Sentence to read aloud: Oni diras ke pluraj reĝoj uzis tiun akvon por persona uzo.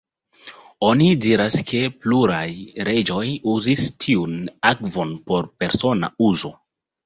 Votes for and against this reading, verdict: 2, 0, accepted